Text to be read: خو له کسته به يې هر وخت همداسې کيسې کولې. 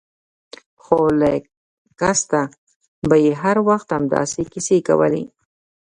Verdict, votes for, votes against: accepted, 2, 0